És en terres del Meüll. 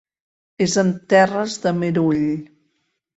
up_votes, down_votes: 0, 4